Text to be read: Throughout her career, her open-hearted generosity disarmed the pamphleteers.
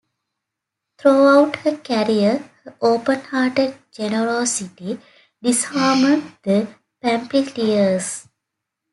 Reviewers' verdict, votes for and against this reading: rejected, 0, 2